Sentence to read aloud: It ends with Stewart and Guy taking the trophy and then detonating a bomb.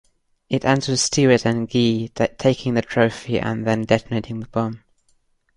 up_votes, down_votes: 1, 2